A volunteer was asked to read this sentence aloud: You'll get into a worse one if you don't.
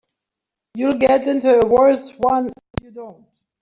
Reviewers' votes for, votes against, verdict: 3, 0, accepted